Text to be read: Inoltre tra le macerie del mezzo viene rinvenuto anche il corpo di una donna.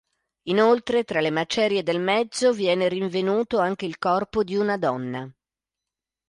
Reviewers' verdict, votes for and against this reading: accepted, 2, 0